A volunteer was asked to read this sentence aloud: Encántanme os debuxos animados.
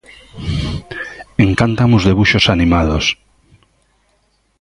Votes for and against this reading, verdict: 2, 1, accepted